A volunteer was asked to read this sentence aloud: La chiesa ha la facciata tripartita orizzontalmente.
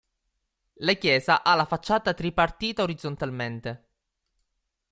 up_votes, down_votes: 2, 0